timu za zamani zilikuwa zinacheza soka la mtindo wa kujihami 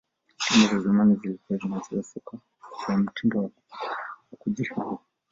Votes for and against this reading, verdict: 0, 2, rejected